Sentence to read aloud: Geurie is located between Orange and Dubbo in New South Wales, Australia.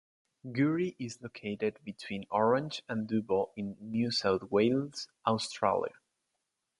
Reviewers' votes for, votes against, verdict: 2, 0, accepted